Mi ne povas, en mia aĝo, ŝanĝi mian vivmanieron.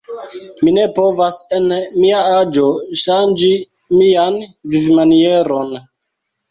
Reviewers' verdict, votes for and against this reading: rejected, 1, 2